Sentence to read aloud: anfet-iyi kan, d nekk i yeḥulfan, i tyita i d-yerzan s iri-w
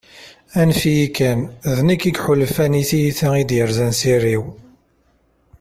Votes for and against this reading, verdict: 1, 2, rejected